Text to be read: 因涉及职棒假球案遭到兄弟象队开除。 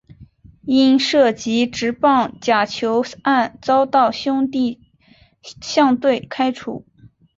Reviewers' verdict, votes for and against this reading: accepted, 4, 1